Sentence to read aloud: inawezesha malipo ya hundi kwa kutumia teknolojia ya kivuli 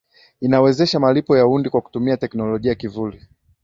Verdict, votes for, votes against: accepted, 2, 0